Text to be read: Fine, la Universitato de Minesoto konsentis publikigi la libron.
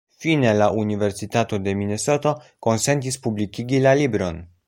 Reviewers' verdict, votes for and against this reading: accepted, 2, 0